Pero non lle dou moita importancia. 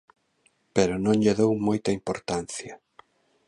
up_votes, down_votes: 2, 0